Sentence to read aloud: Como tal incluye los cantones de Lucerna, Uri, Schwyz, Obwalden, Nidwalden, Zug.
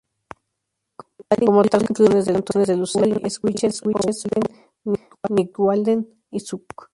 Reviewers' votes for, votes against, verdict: 0, 2, rejected